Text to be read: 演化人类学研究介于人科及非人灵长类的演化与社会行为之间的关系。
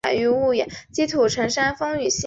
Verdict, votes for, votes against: rejected, 0, 2